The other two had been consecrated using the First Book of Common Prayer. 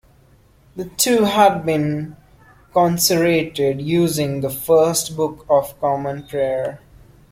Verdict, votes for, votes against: rejected, 0, 2